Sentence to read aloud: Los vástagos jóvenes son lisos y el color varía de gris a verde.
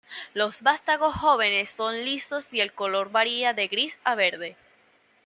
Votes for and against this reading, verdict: 2, 0, accepted